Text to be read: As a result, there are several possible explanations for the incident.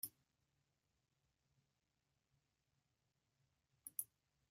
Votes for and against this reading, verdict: 0, 2, rejected